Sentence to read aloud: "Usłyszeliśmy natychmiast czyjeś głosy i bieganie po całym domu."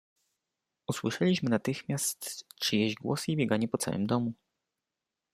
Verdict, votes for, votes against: accepted, 2, 0